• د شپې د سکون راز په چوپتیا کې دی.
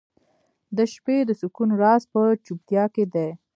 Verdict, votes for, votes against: accepted, 2, 0